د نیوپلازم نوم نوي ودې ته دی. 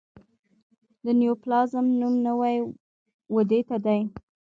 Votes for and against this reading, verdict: 1, 2, rejected